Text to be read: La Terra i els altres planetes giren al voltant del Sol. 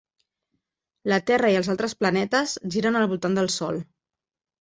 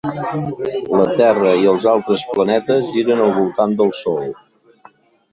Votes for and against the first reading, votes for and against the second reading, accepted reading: 4, 0, 1, 2, first